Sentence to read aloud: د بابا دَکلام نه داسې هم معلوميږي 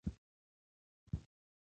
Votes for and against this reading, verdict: 0, 2, rejected